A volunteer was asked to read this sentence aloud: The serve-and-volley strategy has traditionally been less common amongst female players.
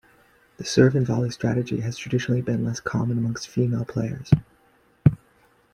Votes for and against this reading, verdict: 2, 0, accepted